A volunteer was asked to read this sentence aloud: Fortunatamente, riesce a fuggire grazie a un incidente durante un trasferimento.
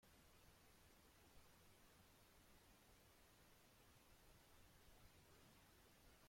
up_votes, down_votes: 0, 2